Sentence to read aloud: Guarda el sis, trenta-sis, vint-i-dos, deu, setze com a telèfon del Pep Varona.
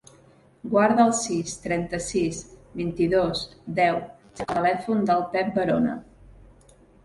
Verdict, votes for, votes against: rejected, 0, 2